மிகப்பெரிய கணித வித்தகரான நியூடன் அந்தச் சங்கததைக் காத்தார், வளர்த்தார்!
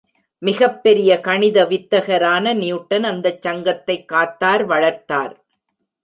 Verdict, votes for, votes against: rejected, 0, 2